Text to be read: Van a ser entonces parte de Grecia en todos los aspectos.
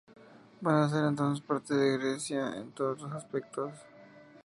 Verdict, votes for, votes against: accepted, 2, 0